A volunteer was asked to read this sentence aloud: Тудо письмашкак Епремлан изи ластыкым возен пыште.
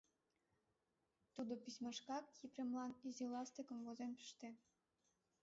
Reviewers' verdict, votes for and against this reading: accepted, 2, 0